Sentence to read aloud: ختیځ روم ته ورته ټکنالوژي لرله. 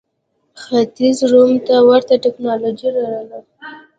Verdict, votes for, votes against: rejected, 0, 2